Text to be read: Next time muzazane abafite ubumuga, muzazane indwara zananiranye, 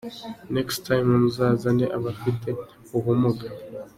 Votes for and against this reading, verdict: 0, 2, rejected